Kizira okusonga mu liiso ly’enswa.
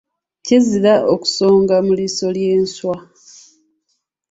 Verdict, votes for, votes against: accepted, 2, 0